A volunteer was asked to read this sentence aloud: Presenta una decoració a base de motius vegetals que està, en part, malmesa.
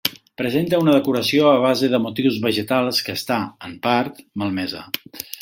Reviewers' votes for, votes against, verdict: 3, 1, accepted